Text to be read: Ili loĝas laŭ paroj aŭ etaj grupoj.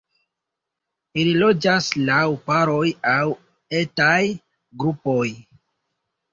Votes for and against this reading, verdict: 2, 1, accepted